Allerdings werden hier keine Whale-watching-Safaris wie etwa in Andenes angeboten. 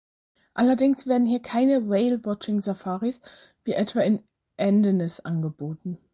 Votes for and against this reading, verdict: 2, 4, rejected